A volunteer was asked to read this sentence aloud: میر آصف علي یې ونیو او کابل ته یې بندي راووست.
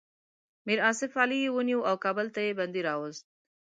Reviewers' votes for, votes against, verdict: 2, 0, accepted